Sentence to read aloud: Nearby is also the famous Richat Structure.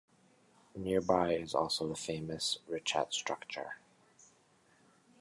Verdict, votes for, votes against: rejected, 1, 2